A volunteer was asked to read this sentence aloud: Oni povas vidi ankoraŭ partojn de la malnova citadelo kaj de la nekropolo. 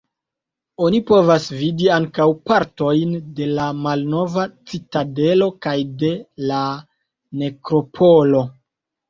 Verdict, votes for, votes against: rejected, 1, 2